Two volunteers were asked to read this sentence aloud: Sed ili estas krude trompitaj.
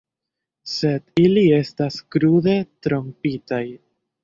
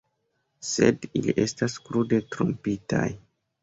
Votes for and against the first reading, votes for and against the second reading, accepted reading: 1, 2, 2, 0, second